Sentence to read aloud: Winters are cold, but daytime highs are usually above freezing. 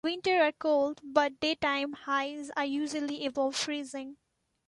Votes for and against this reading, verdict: 1, 2, rejected